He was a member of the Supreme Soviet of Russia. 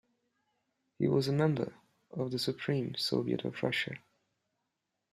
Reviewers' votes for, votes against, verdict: 2, 0, accepted